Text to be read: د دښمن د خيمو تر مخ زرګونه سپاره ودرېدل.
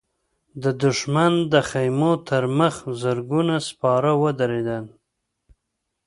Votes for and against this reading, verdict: 2, 0, accepted